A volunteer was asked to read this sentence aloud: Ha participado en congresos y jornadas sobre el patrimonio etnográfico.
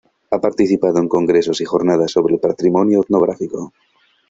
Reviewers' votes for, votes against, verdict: 2, 0, accepted